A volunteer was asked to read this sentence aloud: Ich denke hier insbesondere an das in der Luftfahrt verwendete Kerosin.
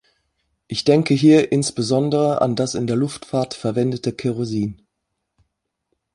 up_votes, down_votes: 3, 0